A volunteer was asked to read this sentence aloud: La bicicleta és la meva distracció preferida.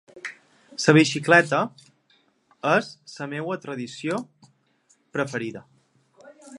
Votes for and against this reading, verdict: 0, 2, rejected